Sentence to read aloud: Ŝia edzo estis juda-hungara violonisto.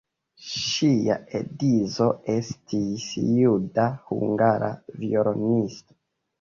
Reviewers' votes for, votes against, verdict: 2, 1, accepted